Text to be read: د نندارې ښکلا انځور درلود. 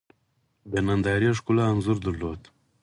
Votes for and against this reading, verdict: 4, 2, accepted